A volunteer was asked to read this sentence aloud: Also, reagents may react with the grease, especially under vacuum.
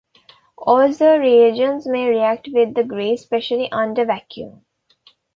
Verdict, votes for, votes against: accepted, 2, 0